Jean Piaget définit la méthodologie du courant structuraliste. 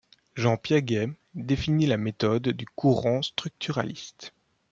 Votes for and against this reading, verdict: 1, 2, rejected